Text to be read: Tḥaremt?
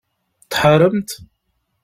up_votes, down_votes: 2, 0